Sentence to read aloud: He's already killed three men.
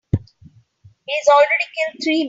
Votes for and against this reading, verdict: 2, 9, rejected